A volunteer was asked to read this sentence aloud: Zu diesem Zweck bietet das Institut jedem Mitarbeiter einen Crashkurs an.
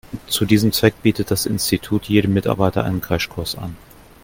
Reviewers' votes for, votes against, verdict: 2, 0, accepted